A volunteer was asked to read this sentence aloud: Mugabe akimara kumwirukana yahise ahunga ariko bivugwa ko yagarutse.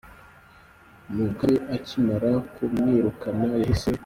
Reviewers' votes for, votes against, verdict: 0, 2, rejected